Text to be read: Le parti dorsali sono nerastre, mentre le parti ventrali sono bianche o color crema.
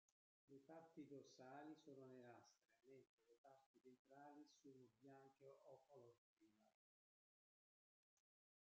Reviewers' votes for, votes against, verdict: 0, 2, rejected